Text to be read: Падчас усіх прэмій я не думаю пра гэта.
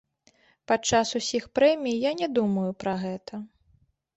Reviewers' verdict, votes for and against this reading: accepted, 2, 0